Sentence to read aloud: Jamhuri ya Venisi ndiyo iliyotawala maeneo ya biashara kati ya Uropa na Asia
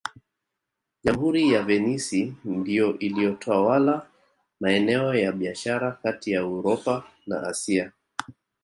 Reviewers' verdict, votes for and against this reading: accepted, 3, 0